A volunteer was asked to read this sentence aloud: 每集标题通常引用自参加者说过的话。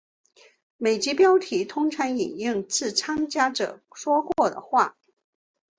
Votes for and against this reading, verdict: 5, 0, accepted